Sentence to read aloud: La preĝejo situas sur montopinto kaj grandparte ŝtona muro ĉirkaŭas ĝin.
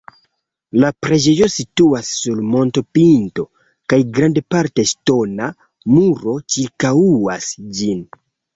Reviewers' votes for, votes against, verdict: 0, 2, rejected